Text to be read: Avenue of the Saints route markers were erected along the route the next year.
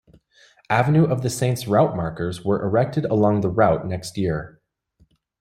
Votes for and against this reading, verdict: 1, 2, rejected